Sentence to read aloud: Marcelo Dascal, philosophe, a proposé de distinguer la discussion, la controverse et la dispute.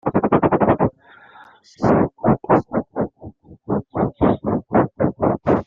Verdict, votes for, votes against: rejected, 0, 2